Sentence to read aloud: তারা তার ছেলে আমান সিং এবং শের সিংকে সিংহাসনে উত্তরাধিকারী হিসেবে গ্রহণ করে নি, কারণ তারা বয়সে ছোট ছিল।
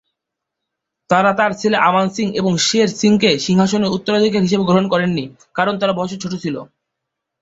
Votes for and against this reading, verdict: 0, 3, rejected